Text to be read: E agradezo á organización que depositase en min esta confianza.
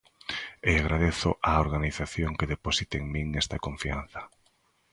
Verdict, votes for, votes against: rejected, 0, 2